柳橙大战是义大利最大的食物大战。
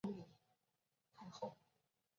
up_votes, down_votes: 0, 4